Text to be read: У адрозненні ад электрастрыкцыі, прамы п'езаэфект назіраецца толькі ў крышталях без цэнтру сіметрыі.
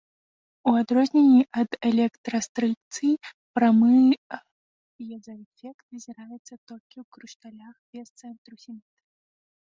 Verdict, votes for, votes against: rejected, 1, 2